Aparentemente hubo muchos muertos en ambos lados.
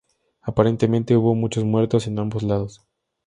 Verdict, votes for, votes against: accepted, 2, 0